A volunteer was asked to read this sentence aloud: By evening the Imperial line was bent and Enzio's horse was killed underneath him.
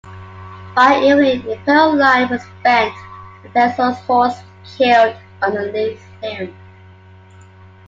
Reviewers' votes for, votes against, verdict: 1, 2, rejected